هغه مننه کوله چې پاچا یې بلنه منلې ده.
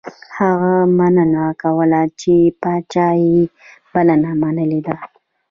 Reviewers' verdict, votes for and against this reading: rejected, 1, 2